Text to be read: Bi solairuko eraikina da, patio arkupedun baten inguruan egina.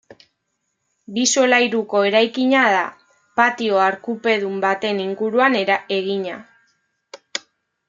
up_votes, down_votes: 1, 2